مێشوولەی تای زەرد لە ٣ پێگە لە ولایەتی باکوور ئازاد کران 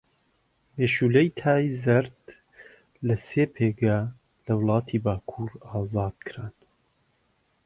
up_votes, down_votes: 0, 2